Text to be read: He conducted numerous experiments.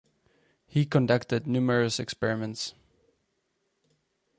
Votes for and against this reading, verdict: 4, 0, accepted